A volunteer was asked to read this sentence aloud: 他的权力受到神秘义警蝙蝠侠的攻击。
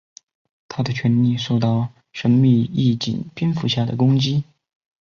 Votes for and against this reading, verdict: 2, 1, accepted